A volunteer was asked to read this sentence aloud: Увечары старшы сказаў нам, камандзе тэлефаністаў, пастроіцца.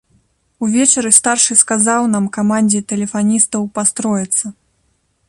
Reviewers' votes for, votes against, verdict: 2, 0, accepted